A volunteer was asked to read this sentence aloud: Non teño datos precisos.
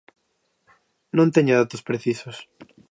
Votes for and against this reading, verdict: 2, 0, accepted